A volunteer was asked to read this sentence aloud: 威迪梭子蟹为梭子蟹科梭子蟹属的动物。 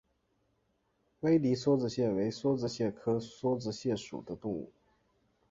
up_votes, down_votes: 2, 0